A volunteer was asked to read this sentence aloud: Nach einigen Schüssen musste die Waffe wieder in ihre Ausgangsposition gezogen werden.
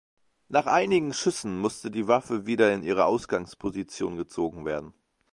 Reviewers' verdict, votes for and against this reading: accepted, 2, 0